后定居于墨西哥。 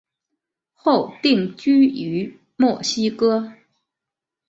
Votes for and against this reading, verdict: 2, 0, accepted